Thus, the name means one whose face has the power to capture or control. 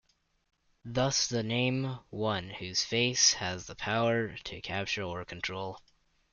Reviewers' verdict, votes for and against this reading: rejected, 0, 2